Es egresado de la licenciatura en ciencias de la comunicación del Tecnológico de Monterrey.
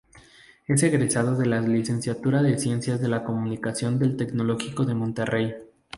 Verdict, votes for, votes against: rejected, 0, 2